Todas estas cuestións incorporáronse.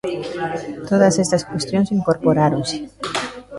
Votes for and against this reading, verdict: 2, 3, rejected